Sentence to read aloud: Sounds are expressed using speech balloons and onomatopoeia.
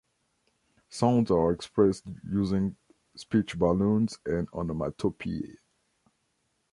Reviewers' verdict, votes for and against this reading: accepted, 2, 0